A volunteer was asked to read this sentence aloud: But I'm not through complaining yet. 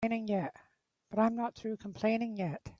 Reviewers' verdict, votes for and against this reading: rejected, 1, 3